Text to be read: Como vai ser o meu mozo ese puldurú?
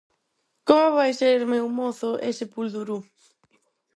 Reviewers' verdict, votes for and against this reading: accepted, 4, 0